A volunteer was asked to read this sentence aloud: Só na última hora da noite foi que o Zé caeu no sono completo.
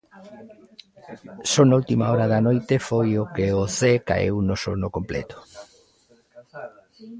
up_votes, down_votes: 0, 2